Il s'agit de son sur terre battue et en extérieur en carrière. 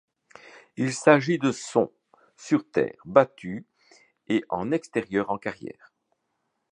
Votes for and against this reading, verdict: 2, 0, accepted